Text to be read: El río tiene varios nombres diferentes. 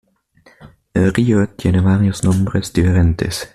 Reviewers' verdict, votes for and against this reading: accepted, 2, 0